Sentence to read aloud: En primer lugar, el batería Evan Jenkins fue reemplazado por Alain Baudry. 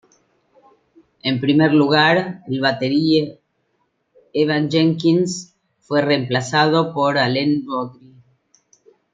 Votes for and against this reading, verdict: 1, 2, rejected